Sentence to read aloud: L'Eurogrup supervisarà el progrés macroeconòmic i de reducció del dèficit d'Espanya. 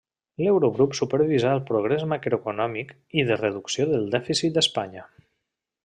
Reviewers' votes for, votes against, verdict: 1, 2, rejected